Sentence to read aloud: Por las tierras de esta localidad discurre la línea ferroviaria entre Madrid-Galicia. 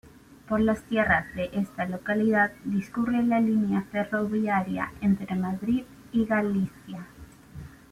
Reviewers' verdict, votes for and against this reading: rejected, 1, 2